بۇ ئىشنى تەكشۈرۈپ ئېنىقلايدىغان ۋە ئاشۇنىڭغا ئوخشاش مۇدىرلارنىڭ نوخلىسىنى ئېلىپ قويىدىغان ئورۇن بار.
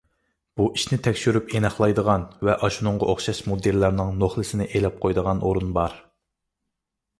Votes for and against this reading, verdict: 3, 0, accepted